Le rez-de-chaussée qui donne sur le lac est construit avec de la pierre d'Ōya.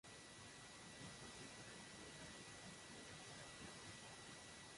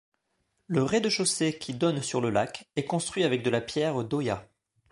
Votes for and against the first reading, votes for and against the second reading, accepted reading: 1, 2, 2, 0, second